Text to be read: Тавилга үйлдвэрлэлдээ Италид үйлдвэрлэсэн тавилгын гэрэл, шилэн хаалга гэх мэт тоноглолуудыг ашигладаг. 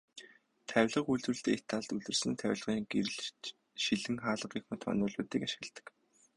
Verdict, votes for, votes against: rejected, 0, 2